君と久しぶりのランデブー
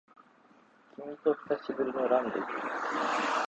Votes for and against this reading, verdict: 0, 2, rejected